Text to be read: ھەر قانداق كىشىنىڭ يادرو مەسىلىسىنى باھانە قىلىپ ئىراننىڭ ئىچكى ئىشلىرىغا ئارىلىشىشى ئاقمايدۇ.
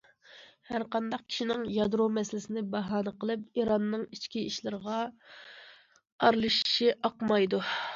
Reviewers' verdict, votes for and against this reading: accepted, 2, 0